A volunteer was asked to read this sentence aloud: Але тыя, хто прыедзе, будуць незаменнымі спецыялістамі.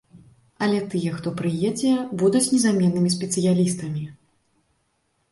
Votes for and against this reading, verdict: 2, 0, accepted